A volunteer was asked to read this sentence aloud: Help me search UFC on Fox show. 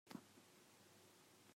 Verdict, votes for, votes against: rejected, 0, 2